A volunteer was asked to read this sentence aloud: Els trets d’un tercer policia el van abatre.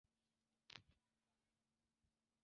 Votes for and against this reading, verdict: 0, 2, rejected